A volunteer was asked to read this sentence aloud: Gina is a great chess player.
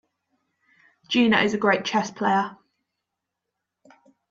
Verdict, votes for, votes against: accepted, 2, 0